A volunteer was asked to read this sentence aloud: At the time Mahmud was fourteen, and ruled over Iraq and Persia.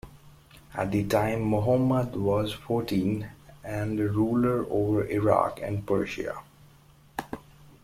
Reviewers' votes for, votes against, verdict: 1, 2, rejected